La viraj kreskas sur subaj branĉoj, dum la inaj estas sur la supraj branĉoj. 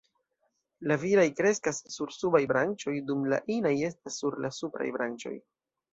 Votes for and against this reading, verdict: 2, 1, accepted